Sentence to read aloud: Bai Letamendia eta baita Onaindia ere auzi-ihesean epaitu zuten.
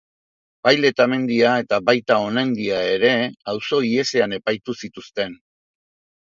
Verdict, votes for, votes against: rejected, 1, 2